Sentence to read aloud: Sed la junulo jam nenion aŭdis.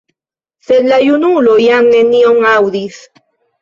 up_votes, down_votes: 0, 2